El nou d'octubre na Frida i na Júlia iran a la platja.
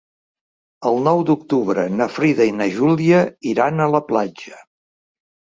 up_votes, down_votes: 4, 0